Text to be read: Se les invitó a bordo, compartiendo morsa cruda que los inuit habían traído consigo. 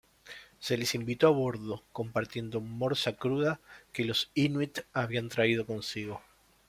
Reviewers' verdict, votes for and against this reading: accepted, 2, 0